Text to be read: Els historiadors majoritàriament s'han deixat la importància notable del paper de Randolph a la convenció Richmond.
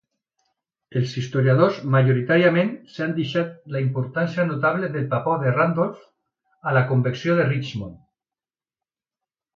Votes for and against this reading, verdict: 1, 2, rejected